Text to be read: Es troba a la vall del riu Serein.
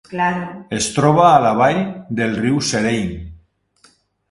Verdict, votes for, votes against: accepted, 2, 1